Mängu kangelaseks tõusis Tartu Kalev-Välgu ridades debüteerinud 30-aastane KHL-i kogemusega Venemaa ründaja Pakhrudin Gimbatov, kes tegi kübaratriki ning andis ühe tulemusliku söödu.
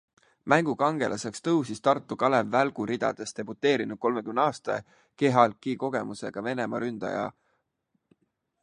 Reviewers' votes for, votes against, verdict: 0, 2, rejected